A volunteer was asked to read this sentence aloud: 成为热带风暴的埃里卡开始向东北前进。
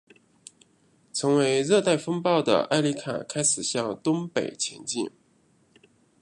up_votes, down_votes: 0, 2